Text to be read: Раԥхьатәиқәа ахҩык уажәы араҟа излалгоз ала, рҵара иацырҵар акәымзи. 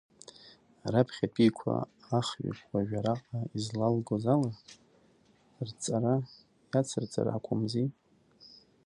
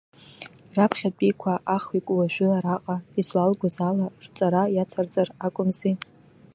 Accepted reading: second